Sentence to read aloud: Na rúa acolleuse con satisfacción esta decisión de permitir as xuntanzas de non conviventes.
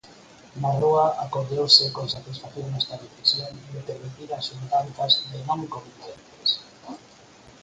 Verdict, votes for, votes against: rejected, 2, 4